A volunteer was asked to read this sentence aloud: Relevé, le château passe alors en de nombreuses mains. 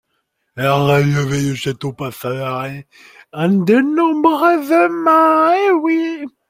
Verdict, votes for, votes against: rejected, 0, 2